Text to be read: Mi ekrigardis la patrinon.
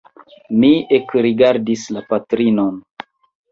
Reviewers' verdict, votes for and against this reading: rejected, 1, 2